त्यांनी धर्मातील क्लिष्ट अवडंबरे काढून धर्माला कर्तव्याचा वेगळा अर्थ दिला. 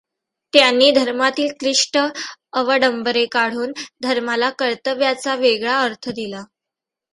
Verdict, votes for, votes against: accepted, 2, 0